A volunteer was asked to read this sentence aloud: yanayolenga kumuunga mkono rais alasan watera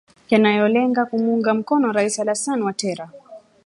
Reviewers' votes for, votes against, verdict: 0, 2, rejected